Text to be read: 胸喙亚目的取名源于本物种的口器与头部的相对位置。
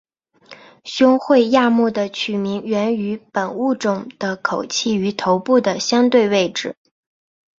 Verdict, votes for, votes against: accepted, 2, 0